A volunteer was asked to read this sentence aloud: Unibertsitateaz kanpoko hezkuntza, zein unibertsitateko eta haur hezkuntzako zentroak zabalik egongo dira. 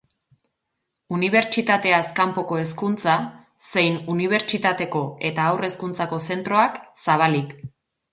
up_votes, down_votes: 0, 2